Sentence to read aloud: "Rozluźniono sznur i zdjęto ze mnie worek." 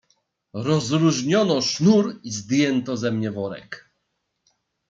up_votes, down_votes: 2, 0